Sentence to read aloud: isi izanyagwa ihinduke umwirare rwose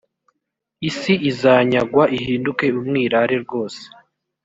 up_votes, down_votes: 3, 0